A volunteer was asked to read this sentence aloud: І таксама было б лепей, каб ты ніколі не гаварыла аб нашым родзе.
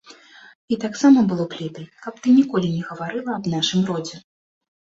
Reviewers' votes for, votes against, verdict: 2, 0, accepted